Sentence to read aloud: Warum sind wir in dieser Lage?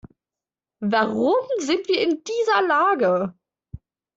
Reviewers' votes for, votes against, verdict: 2, 0, accepted